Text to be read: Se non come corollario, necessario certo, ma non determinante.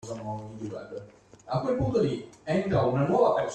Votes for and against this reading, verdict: 0, 2, rejected